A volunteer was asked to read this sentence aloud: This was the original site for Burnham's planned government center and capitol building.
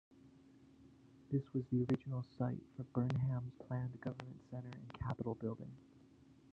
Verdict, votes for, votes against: rejected, 1, 2